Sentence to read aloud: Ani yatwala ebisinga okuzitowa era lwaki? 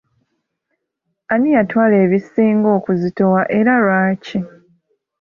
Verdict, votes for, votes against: accepted, 2, 0